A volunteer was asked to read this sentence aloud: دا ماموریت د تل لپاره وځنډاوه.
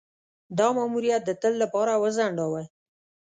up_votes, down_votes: 2, 0